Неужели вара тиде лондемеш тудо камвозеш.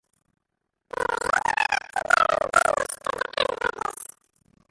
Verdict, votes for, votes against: rejected, 0, 2